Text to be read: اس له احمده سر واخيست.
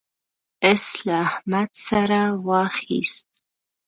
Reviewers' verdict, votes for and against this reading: accepted, 2, 1